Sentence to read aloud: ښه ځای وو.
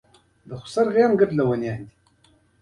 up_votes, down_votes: 1, 2